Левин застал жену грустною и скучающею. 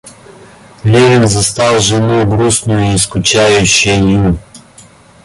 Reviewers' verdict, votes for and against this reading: rejected, 1, 2